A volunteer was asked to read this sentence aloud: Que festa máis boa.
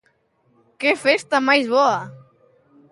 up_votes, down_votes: 2, 0